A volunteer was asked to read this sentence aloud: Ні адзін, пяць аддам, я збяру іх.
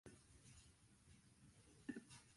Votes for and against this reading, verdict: 1, 2, rejected